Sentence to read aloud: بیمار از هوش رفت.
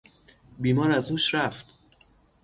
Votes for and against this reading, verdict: 0, 3, rejected